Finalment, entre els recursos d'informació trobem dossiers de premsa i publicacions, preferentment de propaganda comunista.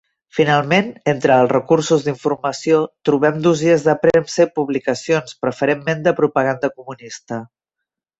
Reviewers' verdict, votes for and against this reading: accepted, 2, 0